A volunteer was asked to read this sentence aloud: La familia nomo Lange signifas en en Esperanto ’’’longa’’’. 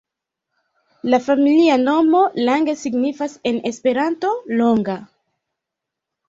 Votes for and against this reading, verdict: 2, 1, accepted